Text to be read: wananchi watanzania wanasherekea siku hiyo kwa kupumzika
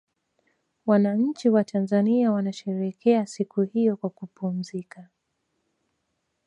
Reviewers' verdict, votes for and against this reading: accepted, 2, 1